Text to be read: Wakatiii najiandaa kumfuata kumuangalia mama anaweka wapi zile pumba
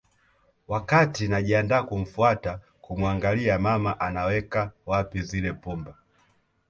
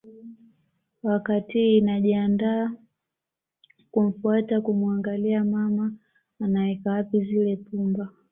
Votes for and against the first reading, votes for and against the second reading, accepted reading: 1, 2, 2, 0, second